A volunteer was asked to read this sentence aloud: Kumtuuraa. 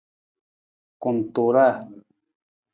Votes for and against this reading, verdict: 2, 0, accepted